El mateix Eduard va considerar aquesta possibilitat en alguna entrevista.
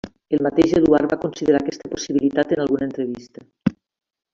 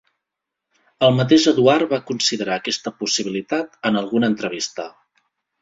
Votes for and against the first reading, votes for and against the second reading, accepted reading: 1, 2, 2, 0, second